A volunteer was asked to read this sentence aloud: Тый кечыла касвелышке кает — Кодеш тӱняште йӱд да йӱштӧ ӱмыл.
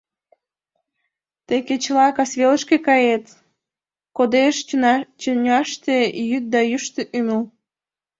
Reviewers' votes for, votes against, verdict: 0, 2, rejected